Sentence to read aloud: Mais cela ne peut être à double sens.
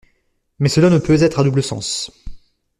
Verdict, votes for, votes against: accepted, 2, 1